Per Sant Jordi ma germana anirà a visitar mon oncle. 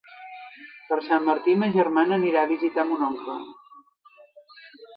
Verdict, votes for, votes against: rejected, 1, 2